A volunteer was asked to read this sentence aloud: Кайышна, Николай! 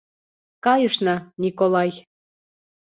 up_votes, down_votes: 2, 0